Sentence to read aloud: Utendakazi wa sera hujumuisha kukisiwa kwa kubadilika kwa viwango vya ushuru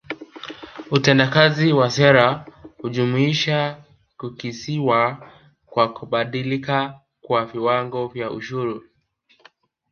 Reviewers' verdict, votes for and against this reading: accepted, 3, 1